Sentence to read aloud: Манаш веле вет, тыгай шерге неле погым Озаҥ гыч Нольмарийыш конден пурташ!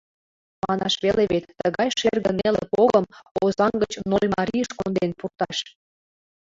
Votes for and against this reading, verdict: 1, 2, rejected